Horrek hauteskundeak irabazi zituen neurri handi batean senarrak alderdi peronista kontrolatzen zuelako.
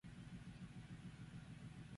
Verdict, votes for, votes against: rejected, 0, 4